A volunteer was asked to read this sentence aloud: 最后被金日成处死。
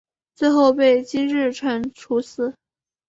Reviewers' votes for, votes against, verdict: 2, 0, accepted